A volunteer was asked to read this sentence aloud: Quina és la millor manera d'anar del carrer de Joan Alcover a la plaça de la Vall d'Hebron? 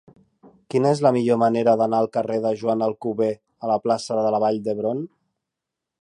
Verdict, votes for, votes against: rejected, 2, 3